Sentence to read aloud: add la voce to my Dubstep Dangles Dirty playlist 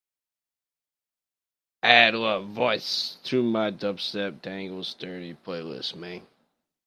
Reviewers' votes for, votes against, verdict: 0, 2, rejected